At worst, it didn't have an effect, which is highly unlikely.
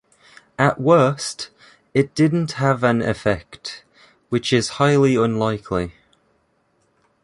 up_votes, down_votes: 2, 0